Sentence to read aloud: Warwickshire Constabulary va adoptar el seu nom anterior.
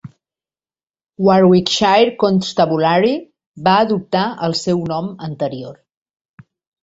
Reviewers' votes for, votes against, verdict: 3, 1, accepted